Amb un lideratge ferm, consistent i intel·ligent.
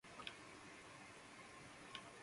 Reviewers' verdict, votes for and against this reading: rejected, 0, 2